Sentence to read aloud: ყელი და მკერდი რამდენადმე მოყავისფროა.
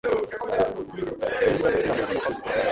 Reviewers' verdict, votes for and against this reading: rejected, 0, 2